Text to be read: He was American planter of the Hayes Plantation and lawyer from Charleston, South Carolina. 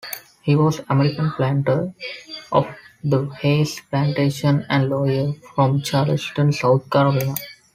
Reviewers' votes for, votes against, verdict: 0, 2, rejected